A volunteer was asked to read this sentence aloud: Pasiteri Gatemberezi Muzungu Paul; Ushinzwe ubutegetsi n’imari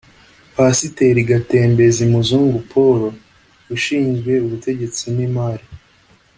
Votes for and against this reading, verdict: 2, 0, accepted